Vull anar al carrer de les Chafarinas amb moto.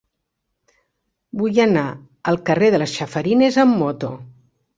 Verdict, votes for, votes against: accepted, 2, 0